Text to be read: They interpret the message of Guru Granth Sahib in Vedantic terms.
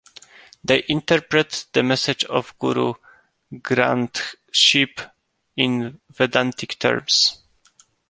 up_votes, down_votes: 0, 2